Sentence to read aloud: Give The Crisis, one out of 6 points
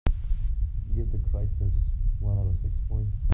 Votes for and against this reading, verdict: 0, 2, rejected